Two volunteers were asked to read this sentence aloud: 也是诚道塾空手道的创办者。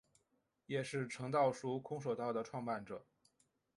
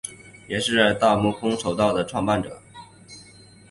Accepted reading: first